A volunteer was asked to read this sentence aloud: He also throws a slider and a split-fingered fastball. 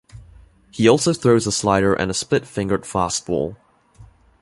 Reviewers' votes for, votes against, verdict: 2, 0, accepted